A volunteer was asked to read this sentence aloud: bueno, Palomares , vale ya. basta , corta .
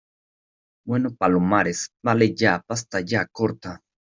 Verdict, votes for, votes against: rejected, 1, 2